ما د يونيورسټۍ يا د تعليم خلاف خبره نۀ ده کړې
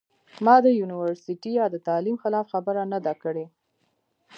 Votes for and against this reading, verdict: 0, 2, rejected